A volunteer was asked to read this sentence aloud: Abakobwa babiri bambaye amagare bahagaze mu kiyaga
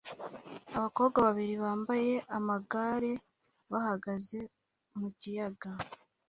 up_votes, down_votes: 2, 0